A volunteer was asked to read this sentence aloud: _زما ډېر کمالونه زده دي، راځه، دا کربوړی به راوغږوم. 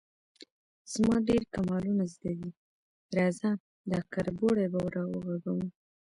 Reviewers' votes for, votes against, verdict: 2, 1, accepted